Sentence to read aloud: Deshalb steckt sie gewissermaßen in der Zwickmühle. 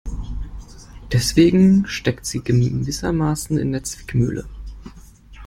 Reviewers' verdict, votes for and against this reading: rejected, 0, 2